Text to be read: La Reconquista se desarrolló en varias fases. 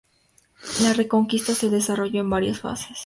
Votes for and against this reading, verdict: 4, 0, accepted